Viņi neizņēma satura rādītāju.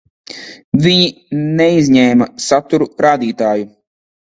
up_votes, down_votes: 1, 2